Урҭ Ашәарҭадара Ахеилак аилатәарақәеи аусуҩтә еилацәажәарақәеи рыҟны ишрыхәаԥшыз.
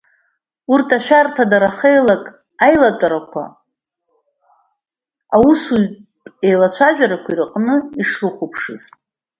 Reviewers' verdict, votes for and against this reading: rejected, 1, 2